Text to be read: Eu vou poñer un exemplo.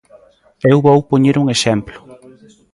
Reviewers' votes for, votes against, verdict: 1, 2, rejected